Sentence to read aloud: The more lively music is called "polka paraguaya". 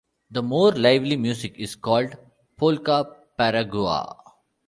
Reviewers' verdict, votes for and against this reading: rejected, 1, 2